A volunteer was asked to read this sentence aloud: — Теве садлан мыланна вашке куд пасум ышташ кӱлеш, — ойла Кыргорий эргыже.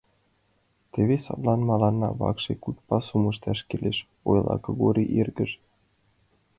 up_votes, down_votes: 2, 1